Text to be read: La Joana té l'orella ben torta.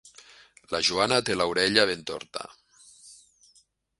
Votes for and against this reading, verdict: 1, 2, rejected